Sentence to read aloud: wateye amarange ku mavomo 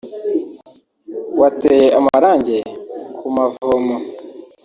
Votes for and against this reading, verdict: 1, 2, rejected